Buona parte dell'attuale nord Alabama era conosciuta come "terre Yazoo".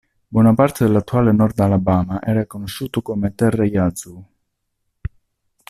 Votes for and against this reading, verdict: 0, 2, rejected